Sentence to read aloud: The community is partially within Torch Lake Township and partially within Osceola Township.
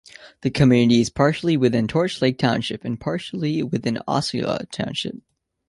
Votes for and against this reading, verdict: 2, 1, accepted